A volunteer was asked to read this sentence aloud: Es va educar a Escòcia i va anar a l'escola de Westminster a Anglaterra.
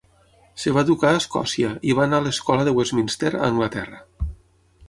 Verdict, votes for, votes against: rejected, 0, 6